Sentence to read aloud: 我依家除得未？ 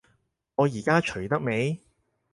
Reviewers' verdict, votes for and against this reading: rejected, 2, 4